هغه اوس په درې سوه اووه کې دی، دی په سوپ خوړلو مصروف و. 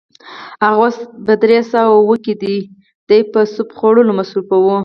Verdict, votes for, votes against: rejected, 2, 4